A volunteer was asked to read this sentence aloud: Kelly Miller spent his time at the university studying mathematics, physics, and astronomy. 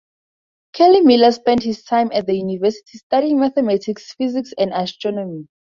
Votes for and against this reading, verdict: 2, 2, rejected